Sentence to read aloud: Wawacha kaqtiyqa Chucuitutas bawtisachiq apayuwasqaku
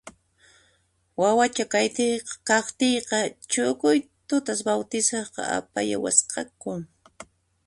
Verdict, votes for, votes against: rejected, 0, 2